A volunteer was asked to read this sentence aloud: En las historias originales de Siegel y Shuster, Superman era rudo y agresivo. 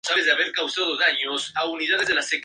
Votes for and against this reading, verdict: 0, 2, rejected